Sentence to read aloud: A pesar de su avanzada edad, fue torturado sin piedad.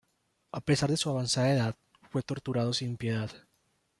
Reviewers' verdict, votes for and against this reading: rejected, 0, 2